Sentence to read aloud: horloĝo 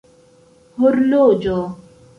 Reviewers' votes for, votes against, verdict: 2, 0, accepted